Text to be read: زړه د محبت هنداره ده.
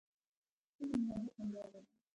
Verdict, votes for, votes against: rejected, 0, 2